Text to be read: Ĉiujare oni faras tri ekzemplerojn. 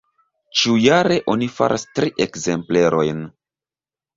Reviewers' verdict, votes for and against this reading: accepted, 2, 0